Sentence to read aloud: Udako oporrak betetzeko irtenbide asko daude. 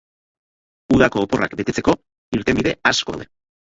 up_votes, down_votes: 2, 4